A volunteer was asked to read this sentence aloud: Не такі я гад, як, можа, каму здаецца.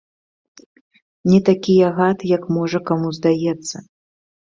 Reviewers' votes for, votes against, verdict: 2, 0, accepted